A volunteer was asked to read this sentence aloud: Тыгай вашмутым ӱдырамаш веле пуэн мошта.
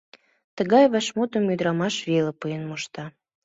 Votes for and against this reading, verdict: 2, 0, accepted